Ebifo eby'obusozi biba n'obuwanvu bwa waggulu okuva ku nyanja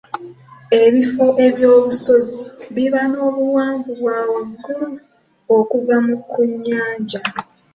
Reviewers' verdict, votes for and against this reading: rejected, 0, 2